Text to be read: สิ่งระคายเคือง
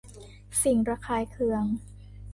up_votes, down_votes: 2, 1